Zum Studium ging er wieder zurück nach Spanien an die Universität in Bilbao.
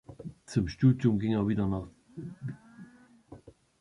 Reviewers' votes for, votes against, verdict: 0, 2, rejected